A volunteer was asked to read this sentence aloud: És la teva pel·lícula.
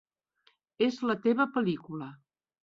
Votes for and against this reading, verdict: 3, 0, accepted